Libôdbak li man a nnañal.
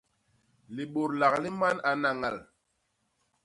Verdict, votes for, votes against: rejected, 1, 2